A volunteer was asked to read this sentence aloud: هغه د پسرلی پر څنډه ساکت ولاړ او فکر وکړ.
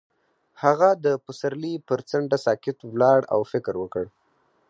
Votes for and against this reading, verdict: 4, 0, accepted